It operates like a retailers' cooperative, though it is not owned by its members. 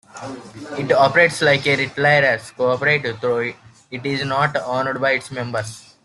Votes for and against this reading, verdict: 0, 2, rejected